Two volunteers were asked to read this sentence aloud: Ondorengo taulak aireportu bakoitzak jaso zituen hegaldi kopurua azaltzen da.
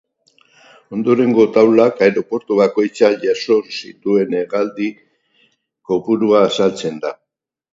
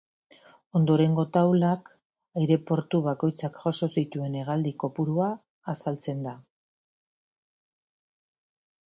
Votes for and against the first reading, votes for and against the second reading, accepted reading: 2, 2, 2, 0, second